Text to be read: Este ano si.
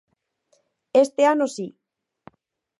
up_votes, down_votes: 4, 0